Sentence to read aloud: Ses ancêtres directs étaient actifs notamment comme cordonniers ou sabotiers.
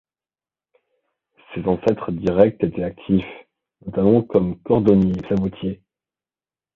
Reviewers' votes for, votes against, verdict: 2, 1, accepted